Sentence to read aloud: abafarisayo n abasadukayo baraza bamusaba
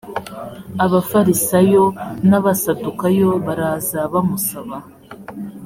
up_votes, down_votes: 3, 0